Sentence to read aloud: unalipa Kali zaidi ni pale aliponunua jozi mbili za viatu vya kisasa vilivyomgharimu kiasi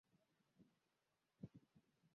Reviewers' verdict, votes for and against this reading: rejected, 0, 2